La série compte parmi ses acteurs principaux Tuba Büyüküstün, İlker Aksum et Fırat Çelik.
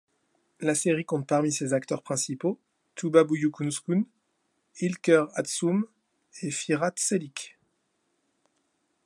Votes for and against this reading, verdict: 2, 0, accepted